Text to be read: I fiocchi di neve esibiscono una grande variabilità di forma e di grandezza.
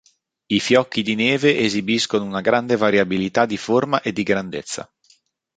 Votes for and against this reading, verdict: 2, 0, accepted